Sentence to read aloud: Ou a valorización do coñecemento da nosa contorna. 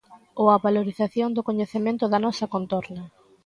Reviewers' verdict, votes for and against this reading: accepted, 3, 0